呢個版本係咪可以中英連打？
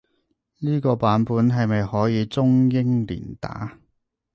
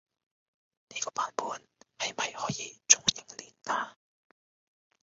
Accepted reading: first